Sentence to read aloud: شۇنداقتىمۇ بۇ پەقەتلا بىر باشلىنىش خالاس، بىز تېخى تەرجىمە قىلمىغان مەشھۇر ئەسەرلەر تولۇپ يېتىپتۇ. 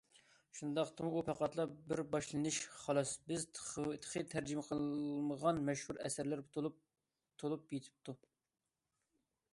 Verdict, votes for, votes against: rejected, 1, 2